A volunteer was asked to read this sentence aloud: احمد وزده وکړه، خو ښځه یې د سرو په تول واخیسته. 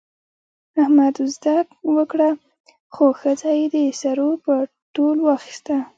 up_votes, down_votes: 3, 2